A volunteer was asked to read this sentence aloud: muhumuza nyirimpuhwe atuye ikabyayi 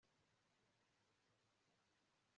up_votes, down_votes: 1, 2